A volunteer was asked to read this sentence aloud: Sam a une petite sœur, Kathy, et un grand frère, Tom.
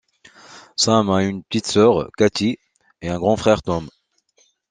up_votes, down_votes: 2, 0